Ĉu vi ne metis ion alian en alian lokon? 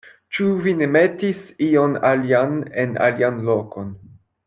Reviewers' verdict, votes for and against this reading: rejected, 1, 2